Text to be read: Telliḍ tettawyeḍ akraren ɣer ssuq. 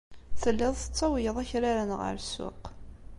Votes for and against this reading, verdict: 2, 1, accepted